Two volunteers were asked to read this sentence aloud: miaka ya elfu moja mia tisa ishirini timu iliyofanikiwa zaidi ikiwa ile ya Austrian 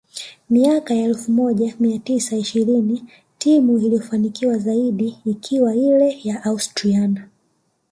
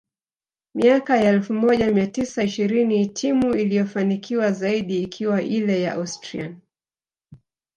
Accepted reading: second